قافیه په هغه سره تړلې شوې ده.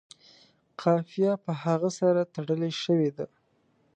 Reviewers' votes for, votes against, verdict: 3, 0, accepted